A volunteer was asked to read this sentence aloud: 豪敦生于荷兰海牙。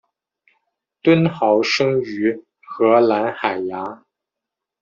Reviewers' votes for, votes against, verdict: 1, 2, rejected